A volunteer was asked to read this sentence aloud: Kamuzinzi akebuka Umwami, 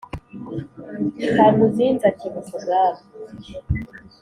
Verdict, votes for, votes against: accepted, 3, 0